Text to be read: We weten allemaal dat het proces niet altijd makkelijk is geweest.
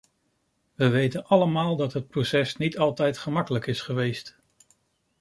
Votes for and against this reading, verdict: 1, 2, rejected